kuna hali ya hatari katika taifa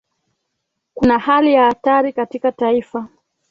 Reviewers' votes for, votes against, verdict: 2, 0, accepted